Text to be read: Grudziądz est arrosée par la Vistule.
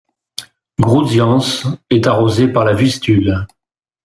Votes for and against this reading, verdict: 2, 0, accepted